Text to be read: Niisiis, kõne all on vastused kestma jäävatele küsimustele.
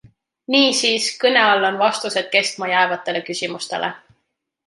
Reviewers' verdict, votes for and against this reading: accepted, 2, 0